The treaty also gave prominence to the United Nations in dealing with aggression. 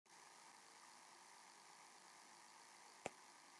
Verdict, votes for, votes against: rejected, 0, 2